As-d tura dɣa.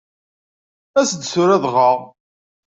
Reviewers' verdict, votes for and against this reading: accepted, 2, 0